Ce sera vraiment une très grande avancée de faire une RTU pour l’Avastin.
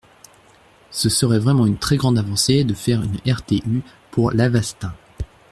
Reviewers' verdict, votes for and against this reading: rejected, 0, 2